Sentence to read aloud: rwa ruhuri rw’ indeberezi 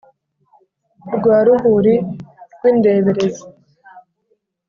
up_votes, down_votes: 2, 0